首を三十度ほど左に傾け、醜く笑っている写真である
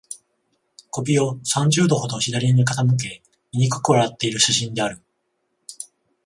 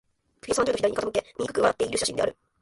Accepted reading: first